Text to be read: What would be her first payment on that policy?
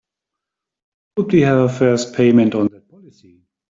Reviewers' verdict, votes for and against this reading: rejected, 0, 3